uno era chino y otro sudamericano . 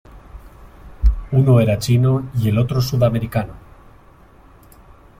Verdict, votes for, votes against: rejected, 1, 3